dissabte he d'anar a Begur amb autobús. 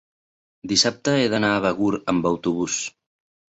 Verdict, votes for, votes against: accepted, 3, 0